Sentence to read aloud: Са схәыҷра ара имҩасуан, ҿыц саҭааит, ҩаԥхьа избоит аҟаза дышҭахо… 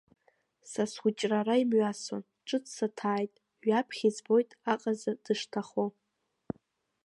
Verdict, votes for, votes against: rejected, 0, 2